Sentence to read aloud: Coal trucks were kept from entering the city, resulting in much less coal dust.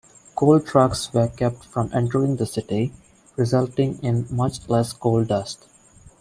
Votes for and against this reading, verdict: 2, 0, accepted